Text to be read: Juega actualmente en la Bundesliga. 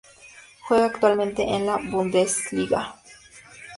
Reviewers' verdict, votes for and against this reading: accepted, 4, 0